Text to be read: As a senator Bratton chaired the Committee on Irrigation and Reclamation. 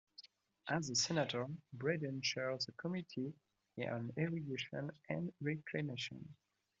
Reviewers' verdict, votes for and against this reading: accepted, 2, 1